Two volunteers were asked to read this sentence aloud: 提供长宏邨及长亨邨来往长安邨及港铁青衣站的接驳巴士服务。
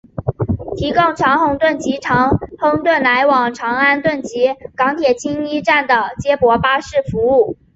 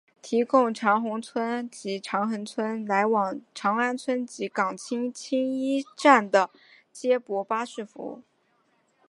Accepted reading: second